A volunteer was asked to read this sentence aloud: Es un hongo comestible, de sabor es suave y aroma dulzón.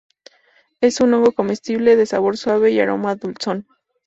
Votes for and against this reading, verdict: 2, 2, rejected